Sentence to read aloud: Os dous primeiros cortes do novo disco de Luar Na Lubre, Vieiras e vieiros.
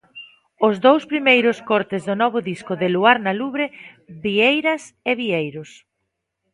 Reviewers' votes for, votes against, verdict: 3, 0, accepted